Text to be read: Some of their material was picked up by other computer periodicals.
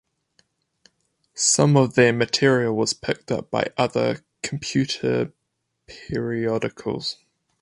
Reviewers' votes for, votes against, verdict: 8, 0, accepted